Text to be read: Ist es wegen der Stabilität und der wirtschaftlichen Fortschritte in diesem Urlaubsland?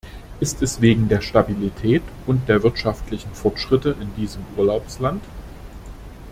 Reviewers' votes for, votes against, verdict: 2, 0, accepted